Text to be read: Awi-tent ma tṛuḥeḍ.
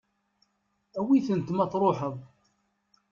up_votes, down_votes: 2, 0